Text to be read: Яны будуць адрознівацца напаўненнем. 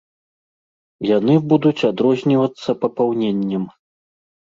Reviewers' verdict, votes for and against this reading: rejected, 1, 2